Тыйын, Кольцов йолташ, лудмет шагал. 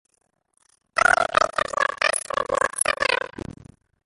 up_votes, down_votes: 0, 2